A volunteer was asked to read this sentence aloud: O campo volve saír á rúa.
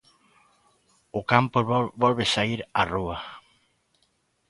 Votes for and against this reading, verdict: 0, 2, rejected